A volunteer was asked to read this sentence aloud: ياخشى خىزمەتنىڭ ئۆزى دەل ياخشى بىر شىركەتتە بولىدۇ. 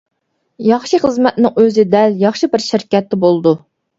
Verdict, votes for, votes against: accepted, 2, 0